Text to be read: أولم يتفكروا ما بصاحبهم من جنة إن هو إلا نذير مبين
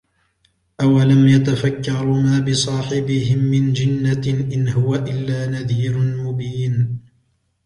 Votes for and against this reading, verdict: 2, 0, accepted